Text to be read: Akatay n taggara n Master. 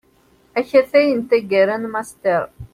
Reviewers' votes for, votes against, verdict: 2, 0, accepted